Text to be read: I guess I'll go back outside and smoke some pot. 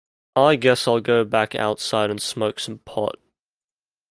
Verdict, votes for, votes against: accepted, 2, 0